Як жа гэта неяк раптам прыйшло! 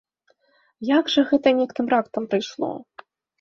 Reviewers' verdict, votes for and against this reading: rejected, 0, 2